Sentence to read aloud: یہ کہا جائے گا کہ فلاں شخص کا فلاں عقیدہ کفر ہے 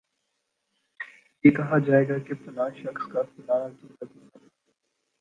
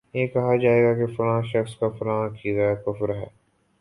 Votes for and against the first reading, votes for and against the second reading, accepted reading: 1, 2, 2, 1, second